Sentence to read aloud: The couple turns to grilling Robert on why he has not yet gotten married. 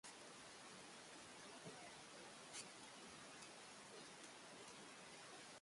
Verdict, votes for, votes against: rejected, 0, 2